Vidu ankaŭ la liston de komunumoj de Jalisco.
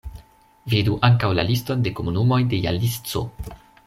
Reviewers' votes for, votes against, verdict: 2, 0, accepted